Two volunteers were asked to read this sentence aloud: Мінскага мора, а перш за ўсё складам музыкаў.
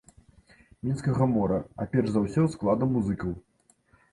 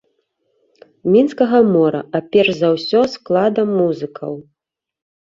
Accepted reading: first